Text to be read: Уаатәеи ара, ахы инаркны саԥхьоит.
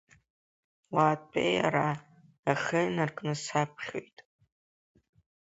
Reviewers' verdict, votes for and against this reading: accepted, 5, 2